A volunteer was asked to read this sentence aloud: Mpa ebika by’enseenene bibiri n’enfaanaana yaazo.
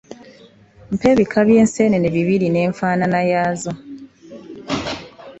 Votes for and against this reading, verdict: 2, 0, accepted